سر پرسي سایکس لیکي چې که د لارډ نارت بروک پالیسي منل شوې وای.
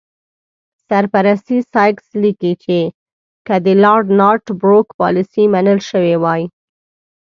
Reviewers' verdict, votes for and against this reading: rejected, 1, 2